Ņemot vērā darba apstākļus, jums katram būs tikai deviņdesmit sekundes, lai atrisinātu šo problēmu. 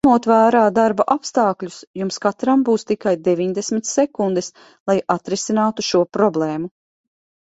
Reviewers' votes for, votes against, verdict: 0, 2, rejected